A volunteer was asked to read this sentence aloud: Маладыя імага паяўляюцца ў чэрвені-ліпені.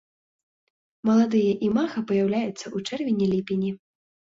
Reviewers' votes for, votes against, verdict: 2, 0, accepted